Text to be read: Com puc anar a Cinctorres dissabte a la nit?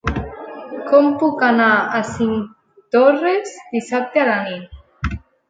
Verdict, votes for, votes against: rejected, 1, 2